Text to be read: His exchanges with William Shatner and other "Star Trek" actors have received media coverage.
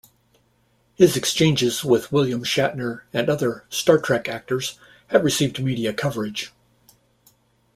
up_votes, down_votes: 2, 0